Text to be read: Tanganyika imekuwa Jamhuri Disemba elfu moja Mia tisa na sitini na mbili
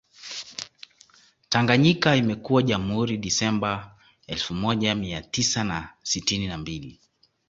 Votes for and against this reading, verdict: 2, 0, accepted